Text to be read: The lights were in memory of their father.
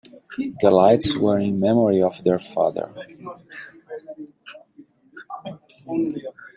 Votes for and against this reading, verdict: 1, 2, rejected